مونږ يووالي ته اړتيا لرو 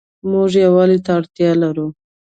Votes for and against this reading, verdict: 1, 2, rejected